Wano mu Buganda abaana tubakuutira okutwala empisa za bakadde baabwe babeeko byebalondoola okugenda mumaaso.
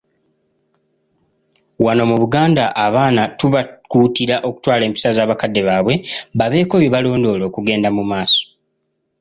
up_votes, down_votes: 2, 0